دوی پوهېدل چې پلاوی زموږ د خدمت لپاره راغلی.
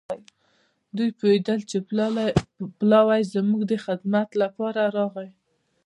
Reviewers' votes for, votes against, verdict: 1, 2, rejected